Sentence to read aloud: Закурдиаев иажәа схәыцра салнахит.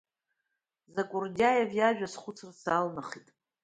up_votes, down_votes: 2, 0